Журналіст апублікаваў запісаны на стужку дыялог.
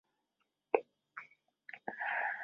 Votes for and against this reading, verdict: 0, 2, rejected